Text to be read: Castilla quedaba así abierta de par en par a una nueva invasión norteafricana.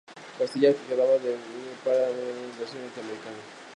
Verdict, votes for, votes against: rejected, 0, 2